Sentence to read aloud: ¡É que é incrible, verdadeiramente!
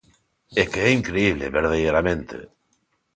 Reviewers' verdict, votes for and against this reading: rejected, 0, 2